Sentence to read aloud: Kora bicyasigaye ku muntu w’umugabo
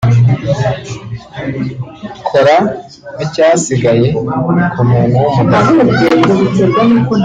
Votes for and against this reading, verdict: 1, 2, rejected